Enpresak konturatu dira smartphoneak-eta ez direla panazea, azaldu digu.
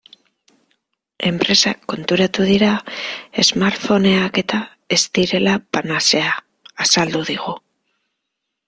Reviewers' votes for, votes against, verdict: 2, 0, accepted